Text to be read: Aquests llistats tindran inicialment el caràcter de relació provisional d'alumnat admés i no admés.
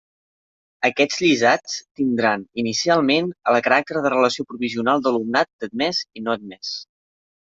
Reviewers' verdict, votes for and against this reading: rejected, 0, 2